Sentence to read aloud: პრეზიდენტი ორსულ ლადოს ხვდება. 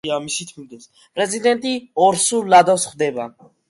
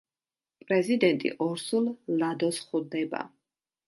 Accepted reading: second